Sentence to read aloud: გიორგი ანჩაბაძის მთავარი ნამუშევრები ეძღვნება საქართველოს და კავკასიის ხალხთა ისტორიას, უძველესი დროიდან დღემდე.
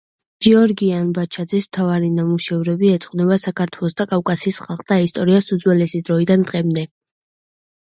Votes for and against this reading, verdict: 0, 2, rejected